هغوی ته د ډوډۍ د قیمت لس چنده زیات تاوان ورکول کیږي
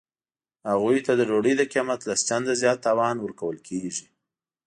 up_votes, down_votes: 2, 0